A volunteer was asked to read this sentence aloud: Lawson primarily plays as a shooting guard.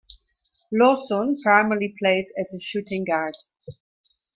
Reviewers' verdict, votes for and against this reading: accepted, 2, 0